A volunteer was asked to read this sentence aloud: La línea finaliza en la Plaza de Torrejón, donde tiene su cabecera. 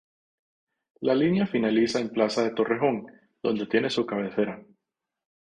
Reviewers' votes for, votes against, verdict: 0, 2, rejected